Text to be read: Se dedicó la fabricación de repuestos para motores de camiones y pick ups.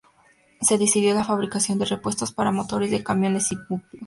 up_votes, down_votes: 0, 2